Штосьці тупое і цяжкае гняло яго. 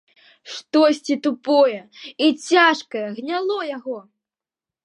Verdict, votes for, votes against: accepted, 2, 0